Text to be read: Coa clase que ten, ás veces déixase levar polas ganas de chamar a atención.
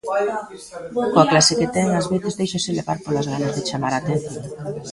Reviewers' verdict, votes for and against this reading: rejected, 0, 2